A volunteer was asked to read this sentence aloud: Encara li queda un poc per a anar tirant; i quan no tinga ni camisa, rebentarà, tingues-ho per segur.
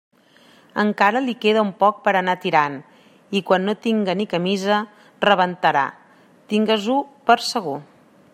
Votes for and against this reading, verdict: 2, 0, accepted